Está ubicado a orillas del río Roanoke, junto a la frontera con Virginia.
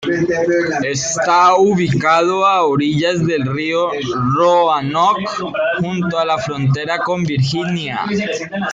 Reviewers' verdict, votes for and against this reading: rejected, 1, 2